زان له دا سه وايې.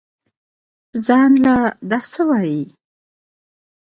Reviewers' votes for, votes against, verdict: 2, 0, accepted